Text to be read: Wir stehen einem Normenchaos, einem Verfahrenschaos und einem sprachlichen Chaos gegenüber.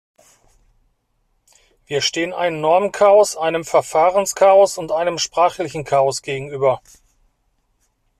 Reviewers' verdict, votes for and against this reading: accepted, 2, 0